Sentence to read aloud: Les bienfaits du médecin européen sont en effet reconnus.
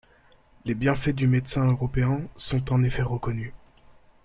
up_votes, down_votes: 1, 2